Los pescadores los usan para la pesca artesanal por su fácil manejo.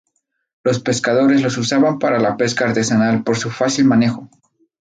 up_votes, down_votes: 0, 2